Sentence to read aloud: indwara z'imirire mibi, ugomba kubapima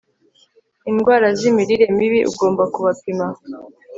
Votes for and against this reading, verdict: 2, 0, accepted